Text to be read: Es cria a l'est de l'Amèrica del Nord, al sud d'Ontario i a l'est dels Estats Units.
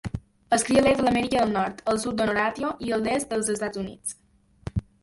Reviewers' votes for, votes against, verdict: 0, 2, rejected